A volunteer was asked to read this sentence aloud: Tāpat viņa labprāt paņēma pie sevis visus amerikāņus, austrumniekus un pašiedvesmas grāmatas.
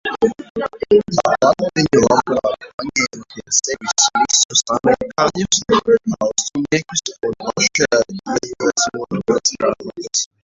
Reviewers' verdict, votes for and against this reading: rejected, 0, 2